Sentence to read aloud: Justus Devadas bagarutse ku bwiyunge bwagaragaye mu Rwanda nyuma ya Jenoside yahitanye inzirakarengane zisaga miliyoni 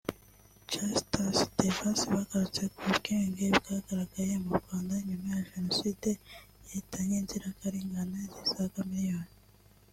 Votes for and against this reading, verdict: 2, 0, accepted